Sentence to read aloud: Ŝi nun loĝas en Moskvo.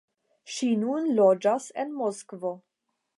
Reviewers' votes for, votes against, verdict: 5, 0, accepted